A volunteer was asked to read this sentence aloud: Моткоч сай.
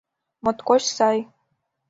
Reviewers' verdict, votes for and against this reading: accepted, 3, 0